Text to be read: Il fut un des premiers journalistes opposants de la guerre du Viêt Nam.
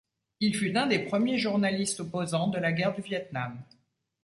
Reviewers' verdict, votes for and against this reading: rejected, 1, 2